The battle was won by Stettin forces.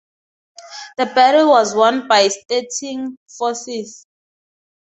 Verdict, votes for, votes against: rejected, 2, 2